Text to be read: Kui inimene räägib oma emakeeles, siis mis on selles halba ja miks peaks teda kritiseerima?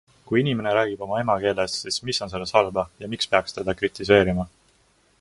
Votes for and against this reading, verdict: 2, 0, accepted